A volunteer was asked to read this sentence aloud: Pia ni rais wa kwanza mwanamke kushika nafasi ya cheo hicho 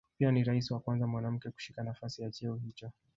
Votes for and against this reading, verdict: 1, 2, rejected